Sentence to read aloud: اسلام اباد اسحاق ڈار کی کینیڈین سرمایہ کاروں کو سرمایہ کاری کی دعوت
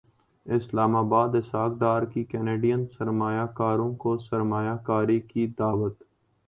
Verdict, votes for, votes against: accepted, 2, 0